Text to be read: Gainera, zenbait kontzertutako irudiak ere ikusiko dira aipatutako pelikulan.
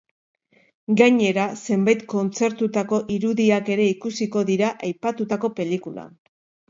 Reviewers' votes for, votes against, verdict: 5, 0, accepted